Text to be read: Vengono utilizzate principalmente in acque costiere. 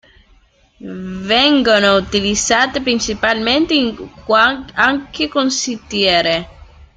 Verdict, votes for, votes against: rejected, 0, 3